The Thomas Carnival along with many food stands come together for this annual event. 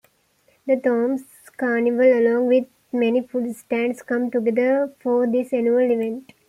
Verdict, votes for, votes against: accepted, 3, 2